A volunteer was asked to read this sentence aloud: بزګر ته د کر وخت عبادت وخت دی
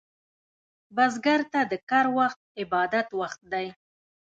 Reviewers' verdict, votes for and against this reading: rejected, 1, 2